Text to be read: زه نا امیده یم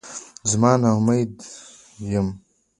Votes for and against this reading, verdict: 2, 0, accepted